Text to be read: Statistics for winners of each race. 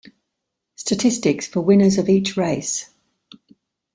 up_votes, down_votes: 2, 0